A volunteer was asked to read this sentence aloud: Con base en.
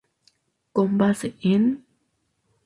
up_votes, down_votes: 2, 0